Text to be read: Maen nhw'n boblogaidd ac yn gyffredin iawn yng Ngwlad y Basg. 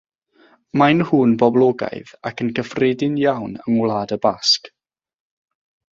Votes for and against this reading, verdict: 3, 3, rejected